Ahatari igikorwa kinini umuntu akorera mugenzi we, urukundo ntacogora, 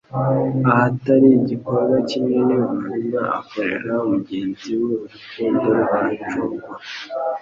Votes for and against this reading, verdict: 2, 0, accepted